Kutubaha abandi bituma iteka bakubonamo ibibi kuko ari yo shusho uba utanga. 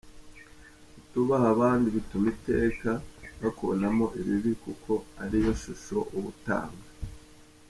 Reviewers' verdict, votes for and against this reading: rejected, 0, 2